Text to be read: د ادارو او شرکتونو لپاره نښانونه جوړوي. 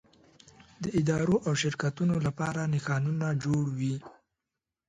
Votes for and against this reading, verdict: 0, 2, rejected